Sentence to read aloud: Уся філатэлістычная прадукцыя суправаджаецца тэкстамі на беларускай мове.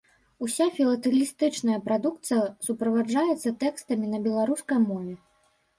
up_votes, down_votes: 2, 0